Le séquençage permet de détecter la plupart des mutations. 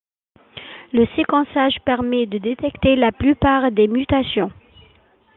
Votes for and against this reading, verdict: 2, 0, accepted